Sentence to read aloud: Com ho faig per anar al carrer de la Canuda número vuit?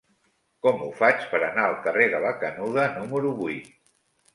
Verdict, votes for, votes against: accepted, 3, 0